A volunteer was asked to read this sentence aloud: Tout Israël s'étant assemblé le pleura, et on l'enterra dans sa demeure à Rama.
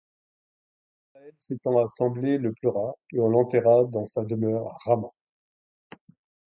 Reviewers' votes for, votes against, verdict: 0, 2, rejected